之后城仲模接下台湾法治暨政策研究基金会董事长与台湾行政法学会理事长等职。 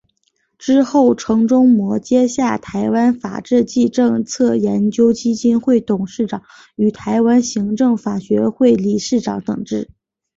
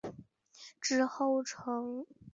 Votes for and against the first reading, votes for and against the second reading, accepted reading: 2, 1, 0, 2, first